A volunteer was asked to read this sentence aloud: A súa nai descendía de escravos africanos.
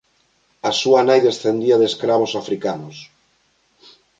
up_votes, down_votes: 2, 0